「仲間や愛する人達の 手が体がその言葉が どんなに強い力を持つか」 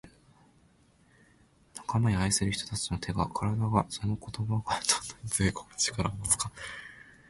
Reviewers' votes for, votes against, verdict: 2, 1, accepted